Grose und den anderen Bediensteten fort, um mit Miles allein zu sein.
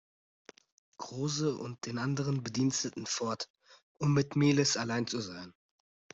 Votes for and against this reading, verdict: 0, 2, rejected